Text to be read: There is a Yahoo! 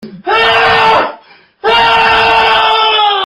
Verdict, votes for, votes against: rejected, 0, 2